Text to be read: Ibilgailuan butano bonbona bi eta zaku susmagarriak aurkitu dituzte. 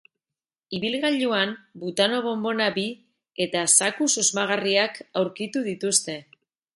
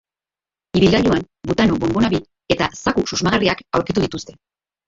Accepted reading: first